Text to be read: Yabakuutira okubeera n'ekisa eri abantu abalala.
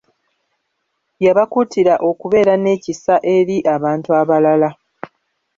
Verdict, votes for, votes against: accepted, 2, 1